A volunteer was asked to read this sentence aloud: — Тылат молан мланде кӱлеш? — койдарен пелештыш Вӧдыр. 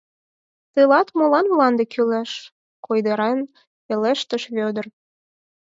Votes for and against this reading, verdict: 4, 0, accepted